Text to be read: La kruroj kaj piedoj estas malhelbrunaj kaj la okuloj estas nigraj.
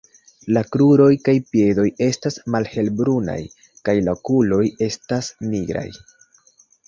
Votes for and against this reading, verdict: 2, 1, accepted